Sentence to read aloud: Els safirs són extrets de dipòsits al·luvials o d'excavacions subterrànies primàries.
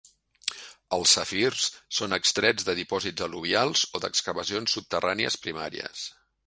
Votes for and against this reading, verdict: 2, 1, accepted